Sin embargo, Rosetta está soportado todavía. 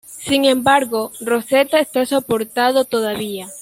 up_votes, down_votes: 2, 0